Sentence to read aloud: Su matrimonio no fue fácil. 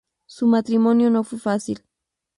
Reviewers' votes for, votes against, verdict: 2, 0, accepted